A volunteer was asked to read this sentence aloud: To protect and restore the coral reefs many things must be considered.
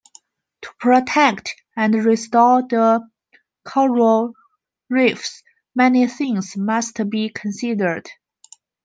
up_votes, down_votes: 1, 2